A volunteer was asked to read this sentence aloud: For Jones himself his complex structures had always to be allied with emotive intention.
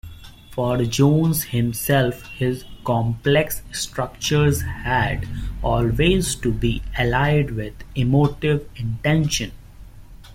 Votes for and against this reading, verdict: 2, 0, accepted